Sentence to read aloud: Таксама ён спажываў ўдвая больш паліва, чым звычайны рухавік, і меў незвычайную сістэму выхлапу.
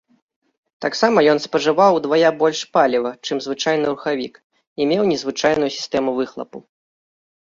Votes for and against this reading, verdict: 2, 1, accepted